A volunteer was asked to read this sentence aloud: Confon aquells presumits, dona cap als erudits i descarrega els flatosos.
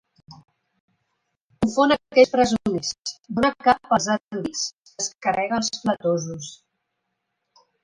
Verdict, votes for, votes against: rejected, 0, 3